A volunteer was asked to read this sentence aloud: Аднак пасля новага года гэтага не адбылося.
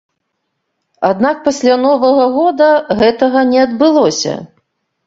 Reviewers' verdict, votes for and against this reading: accepted, 2, 0